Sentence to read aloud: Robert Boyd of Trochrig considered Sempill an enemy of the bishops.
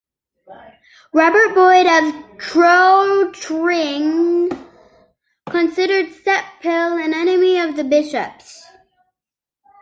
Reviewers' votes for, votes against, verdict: 1, 2, rejected